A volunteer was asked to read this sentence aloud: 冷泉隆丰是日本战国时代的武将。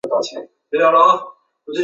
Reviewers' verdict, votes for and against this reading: rejected, 0, 3